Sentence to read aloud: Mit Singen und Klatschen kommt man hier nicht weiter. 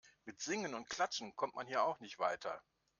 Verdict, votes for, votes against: rejected, 0, 2